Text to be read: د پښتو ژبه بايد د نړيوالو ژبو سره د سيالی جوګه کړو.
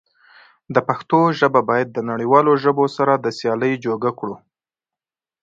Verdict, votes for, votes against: accepted, 2, 0